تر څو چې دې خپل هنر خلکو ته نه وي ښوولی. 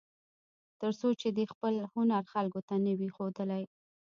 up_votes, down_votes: 2, 0